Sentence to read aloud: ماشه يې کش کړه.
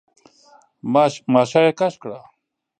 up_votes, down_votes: 1, 2